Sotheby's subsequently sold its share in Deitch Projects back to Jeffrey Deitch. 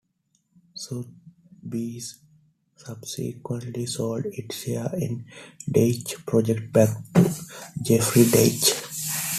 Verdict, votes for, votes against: rejected, 1, 2